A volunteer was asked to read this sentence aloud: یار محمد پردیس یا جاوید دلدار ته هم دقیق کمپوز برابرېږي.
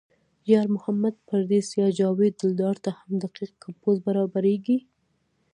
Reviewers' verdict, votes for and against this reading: rejected, 0, 2